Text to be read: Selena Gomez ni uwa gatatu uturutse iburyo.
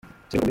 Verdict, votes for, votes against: rejected, 0, 2